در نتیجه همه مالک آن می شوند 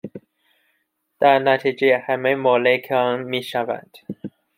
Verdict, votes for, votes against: accepted, 2, 1